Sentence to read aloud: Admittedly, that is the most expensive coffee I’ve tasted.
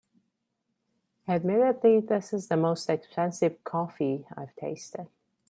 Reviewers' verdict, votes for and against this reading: rejected, 3, 4